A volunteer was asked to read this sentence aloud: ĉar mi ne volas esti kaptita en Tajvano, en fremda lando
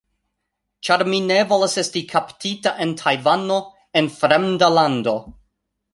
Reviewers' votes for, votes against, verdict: 2, 0, accepted